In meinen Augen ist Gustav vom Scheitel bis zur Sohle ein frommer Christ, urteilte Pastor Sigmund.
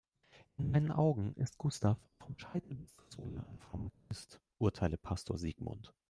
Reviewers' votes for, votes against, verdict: 1, 2, rejected